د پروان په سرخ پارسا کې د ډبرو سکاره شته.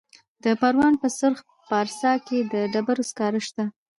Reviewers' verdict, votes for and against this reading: rejected, 1, 2